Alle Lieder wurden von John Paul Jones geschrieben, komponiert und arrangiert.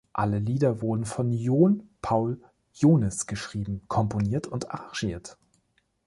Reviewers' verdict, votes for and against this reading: rejected, 1, 2